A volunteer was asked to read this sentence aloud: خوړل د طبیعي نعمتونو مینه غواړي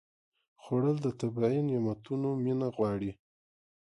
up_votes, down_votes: 1, 2